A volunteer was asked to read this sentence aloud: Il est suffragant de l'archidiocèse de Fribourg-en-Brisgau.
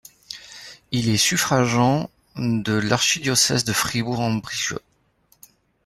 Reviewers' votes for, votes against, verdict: 0, 2, rejected